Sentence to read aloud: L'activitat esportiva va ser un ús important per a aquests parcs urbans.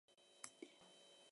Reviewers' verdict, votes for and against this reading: rejected, 0, 4